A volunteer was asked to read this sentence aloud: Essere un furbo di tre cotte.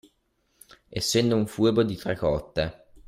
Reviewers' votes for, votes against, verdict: 0, 2, rejected